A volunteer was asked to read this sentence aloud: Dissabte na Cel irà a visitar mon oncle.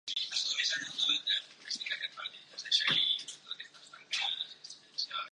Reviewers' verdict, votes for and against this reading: rejected, 0, 2